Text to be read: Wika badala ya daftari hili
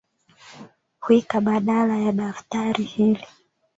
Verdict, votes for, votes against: accepted, 3, 0